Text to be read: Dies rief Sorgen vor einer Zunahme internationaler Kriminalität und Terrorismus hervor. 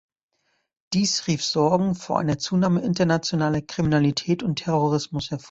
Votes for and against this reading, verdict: 0, 2, rejected